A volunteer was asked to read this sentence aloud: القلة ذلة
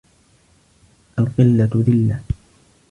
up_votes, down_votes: 2, 0